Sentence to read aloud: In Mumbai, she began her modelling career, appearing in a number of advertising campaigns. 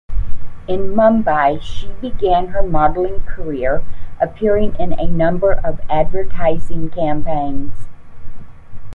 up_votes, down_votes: 2, 0